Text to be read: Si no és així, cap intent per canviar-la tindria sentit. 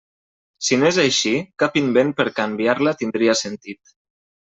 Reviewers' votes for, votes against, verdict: 1, 2, rejected